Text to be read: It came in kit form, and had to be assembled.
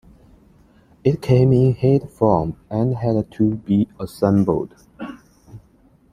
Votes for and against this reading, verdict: 2, 1, accepted